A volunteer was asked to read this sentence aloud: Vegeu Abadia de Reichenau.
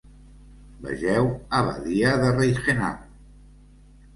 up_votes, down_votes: 2, 0